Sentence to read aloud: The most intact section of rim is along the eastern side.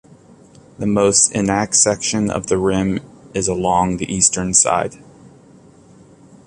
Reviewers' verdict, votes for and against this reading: rejected, 0, 2